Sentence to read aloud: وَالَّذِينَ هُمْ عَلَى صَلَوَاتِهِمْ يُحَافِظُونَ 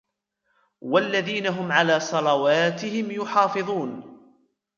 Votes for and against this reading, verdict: 3, 0, accepted